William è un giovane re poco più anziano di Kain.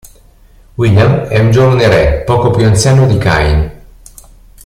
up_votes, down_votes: 0, 2